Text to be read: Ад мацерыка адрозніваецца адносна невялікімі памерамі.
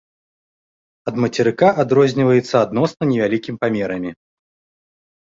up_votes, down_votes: 0, 2